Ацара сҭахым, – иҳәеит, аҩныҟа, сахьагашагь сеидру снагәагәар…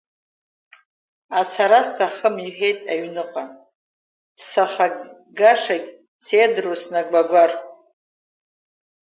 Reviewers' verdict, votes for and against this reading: rejected, 1, 2